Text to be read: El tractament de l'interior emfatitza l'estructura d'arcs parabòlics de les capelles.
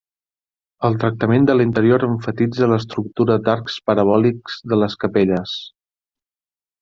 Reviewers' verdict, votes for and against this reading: accepted, 3, 0